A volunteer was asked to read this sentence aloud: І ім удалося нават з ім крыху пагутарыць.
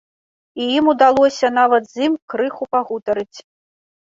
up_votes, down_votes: 2, 0